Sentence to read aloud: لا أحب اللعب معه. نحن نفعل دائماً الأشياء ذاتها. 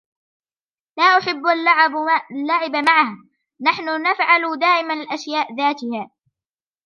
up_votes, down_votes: 1, 2